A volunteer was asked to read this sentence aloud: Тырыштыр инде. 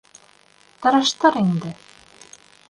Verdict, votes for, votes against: rejected, 0, 2